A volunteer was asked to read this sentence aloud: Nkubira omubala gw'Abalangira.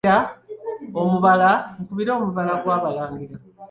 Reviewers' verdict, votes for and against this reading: accepted, 2, 1